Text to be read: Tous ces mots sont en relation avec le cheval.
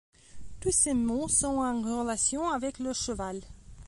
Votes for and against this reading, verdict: 2, 0, accepted